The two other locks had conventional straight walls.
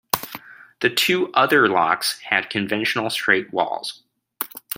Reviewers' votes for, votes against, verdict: 2, 0, accepted